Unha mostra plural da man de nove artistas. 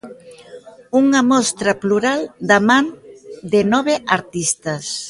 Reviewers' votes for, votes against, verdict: 2, 0, accepted